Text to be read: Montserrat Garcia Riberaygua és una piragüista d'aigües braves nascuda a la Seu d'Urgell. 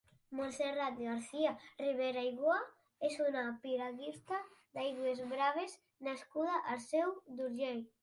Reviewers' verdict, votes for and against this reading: rejected, 1, 2